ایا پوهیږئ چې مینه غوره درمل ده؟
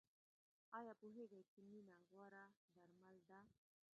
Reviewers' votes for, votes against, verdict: 0, 2, rejected